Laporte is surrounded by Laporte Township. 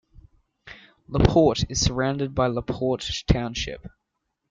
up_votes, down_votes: 1, 2